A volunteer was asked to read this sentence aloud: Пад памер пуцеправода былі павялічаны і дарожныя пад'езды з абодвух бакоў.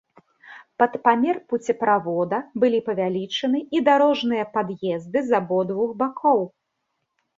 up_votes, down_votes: 2, 0